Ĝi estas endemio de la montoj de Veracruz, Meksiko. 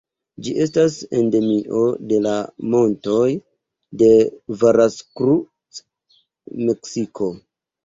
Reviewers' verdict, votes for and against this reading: rejected, 0, 2